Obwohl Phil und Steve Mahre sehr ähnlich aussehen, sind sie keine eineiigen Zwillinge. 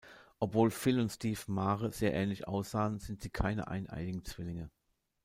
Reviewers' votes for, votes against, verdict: 1, 2, rejected